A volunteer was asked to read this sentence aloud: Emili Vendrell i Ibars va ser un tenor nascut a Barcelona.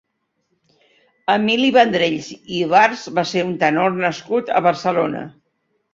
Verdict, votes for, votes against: rejected, 0, 2